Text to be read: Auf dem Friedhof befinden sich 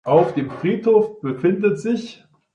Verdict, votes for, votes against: accepted, 2, 0